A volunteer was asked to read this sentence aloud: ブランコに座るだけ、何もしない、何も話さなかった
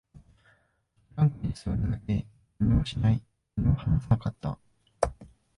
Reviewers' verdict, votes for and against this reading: rejected, 0, 2